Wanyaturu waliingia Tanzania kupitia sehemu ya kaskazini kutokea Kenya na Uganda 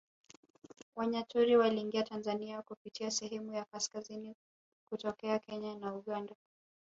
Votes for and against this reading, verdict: 2, 0, accepted